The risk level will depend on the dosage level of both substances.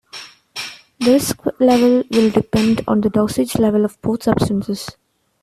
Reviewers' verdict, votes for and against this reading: rejected, 1, 2